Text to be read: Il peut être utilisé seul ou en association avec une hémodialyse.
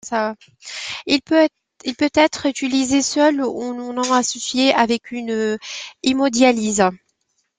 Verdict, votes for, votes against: rejected, 0, 2